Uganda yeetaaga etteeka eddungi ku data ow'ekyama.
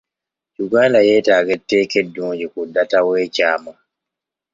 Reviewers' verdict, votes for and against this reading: accepted, 2, 0